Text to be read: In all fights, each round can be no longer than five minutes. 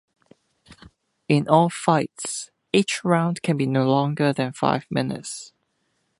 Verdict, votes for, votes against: accepted, 2, 0